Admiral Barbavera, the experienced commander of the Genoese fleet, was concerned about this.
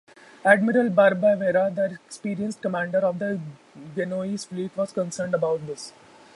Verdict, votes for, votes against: accepted, 2, 0